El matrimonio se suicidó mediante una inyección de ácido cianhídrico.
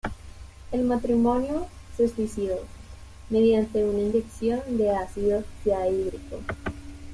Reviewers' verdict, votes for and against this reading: rejected, 1, 2